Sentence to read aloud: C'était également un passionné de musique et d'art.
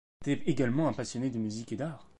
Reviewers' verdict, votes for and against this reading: rejected, 1, 2